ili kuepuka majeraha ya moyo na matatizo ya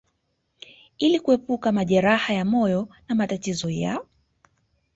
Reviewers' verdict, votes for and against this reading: accepted, 2, 0